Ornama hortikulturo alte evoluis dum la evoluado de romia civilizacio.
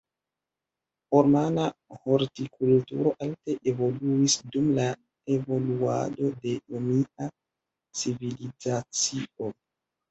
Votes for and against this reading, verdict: 0, 2, rejected